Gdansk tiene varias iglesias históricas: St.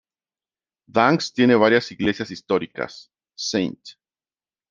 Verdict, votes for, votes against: rejected, 1, 2